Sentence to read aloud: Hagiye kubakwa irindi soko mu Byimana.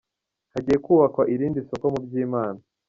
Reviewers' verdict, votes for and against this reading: rejected, 1, 2